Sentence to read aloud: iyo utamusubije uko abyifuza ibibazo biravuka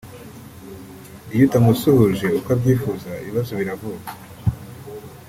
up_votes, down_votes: 0, 2